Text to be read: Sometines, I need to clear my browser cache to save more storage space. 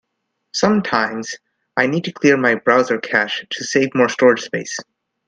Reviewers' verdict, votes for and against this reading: accepted, 2, 0